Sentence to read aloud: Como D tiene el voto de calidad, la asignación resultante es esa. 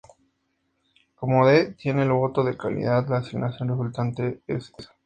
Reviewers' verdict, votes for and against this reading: accepted, 2, 0